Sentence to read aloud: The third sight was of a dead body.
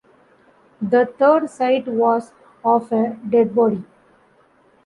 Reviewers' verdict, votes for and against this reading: rejected, 1, 3